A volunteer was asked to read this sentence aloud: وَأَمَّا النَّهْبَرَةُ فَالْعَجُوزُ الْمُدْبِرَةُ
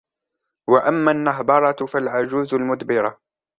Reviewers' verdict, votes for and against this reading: accepted, 2, 0